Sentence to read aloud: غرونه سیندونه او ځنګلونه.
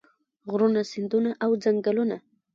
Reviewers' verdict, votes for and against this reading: rejected, 1, 2